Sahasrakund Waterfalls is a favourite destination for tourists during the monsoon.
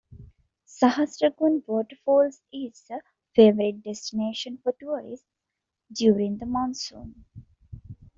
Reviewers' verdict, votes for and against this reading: rejected, 1, 2